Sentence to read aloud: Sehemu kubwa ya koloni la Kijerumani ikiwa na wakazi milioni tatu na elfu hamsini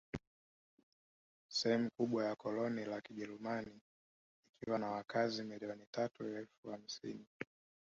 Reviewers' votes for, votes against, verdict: 2, 1, accepted